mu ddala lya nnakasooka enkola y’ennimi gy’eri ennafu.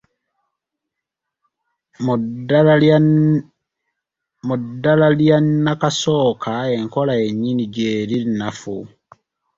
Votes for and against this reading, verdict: 0, 2, rejected